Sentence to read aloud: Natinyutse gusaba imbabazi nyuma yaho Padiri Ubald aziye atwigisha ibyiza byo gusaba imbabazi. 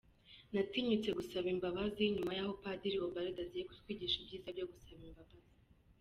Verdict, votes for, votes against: rejected, 1, 2